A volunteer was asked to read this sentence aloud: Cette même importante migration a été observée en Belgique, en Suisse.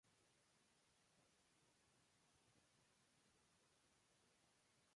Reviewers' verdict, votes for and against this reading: rejected, 0, 2